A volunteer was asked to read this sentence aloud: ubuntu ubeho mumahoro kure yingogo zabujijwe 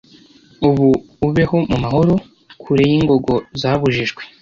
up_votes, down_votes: 1, 2